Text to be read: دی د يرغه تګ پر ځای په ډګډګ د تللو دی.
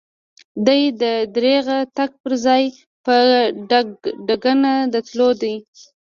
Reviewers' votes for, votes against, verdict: 2, 0, accepted